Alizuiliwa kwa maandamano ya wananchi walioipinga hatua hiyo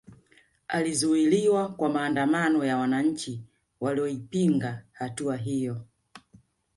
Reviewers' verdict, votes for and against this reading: accepted, 2, 0